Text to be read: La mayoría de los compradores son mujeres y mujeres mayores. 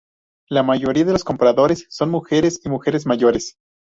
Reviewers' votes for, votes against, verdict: 0, 2, rejected